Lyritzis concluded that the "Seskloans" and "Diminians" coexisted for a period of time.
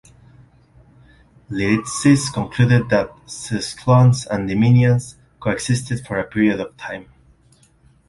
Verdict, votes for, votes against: rejected, 1, 2